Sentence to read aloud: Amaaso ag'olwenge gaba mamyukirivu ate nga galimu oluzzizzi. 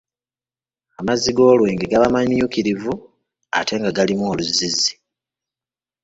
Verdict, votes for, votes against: rejected, 1, 2